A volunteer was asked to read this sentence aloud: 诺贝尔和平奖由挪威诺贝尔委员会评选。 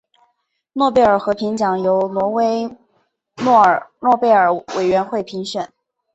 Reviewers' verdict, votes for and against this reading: accepted, 3, 0